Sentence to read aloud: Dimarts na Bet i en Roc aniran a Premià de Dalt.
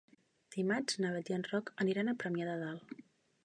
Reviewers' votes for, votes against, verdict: 3, 0, accepted